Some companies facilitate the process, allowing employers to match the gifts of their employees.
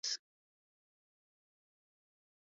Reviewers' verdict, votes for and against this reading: rejected, 0, 2